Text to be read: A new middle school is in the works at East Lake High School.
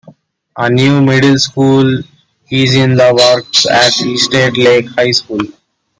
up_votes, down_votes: 2, 0